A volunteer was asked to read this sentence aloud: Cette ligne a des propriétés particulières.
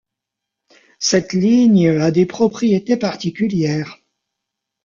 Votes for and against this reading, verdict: 1, 2, rejected